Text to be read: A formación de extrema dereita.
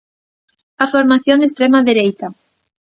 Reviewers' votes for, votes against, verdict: 2, 0, accepted